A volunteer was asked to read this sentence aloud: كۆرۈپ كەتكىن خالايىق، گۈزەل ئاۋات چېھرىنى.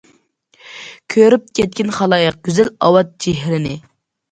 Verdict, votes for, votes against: accepted, 2, 0